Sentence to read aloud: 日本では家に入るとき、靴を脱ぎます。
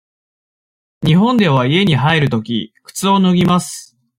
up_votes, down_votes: 2, 0